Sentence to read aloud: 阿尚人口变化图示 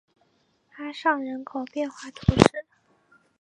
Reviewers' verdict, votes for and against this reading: accepted, 3, 0